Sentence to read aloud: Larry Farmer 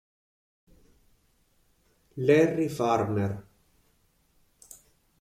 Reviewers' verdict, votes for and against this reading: accepted, 4, 0